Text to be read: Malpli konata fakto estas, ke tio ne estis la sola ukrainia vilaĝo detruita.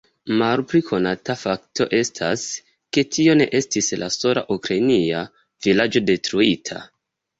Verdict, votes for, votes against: accepted, 2, 0